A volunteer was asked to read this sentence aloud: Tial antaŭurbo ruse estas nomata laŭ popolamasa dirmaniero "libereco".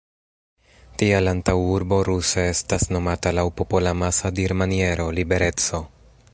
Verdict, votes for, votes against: rejected, 2, 3